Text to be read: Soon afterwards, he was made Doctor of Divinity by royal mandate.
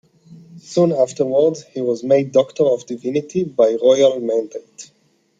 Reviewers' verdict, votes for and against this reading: accepted, 2, 0